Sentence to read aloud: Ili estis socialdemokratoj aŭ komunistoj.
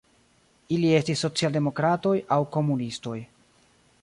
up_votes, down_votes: 0, 2